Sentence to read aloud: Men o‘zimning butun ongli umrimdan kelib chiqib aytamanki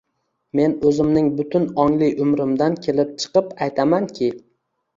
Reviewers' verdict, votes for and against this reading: accepted, 2, 0